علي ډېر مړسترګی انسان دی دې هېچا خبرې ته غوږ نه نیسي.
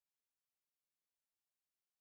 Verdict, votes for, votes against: rejected, 0, 2